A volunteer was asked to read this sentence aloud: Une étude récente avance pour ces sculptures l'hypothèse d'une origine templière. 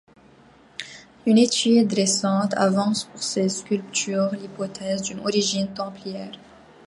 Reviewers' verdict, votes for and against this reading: accepted, 2, 0